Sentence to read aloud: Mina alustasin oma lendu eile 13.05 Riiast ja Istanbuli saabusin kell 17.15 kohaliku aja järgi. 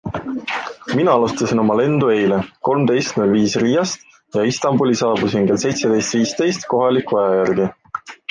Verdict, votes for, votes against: rejected, 0, 2